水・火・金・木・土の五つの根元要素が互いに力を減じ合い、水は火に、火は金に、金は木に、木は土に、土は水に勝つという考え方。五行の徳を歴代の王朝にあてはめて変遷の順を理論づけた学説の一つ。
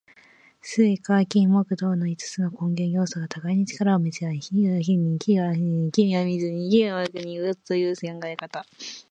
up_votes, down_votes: 0, 2